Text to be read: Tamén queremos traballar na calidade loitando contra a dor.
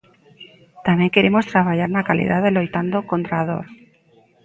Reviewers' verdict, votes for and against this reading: rejected, 1, 2